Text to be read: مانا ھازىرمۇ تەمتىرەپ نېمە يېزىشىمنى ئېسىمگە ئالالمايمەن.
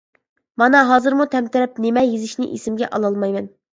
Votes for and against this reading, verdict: 0, 2, rejected